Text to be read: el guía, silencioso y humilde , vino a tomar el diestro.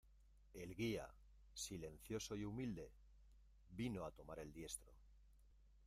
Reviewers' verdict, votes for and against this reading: accepted, 2, 0